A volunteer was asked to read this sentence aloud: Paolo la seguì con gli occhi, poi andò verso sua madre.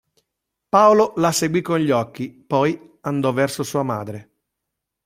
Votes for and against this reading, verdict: 2, 0, accepted